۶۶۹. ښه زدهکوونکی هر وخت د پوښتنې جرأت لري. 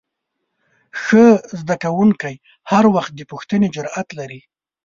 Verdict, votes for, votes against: rejected, 0, 2